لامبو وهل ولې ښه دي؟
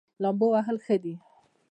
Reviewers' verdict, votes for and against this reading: rejected, 0, 2